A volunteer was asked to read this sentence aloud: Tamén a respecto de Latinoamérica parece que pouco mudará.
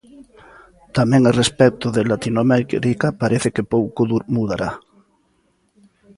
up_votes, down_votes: 0, 2